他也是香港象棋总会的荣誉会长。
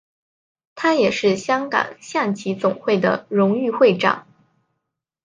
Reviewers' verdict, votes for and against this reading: accepted, 2, 0